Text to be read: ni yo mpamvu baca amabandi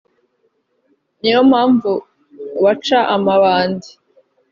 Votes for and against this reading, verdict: 2, 0, accepted